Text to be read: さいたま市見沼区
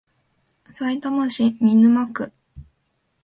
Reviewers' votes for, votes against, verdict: 6, 0, accepted